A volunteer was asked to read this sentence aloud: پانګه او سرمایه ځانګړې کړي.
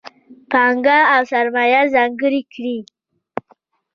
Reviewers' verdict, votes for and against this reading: rejected, 1, 2